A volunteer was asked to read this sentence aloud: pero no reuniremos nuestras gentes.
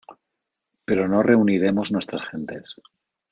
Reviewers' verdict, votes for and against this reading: accepted, 2, 0